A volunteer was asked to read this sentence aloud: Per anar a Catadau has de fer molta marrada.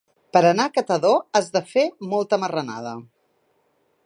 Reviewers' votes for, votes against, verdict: 0, 2, rejected